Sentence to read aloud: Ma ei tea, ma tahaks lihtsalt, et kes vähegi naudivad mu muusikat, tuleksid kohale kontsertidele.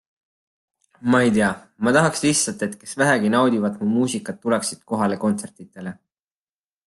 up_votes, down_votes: 2, 0